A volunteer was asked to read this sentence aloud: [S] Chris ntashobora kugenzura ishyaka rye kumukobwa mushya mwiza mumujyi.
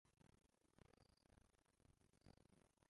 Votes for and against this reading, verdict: 0, 2, rejected